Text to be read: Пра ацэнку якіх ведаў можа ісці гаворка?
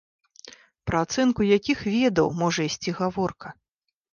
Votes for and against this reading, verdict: 2, 0, accepted